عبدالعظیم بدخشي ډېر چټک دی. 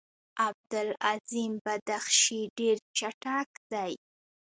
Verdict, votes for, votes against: rejected, 0, 2